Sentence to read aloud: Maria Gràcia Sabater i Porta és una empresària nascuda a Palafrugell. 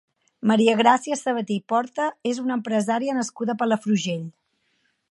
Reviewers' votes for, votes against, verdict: 2, 1, accepted